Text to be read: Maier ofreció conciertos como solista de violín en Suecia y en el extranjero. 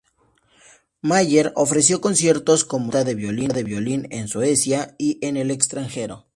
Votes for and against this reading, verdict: 0, 4, rejected